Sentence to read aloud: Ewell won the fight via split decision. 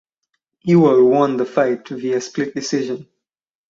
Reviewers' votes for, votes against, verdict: 4, 0, accepted